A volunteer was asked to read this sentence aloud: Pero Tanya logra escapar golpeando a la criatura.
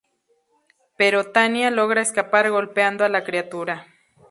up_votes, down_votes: 2, 0